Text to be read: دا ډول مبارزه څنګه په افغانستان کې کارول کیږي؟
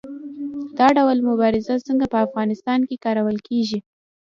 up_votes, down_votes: 2, 1